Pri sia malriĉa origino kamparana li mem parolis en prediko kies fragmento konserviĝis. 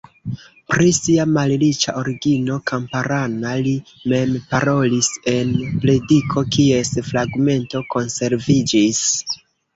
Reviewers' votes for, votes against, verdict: 0, 2, rejected